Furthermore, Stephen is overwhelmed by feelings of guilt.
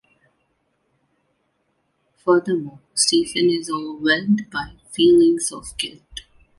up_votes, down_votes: 2, 0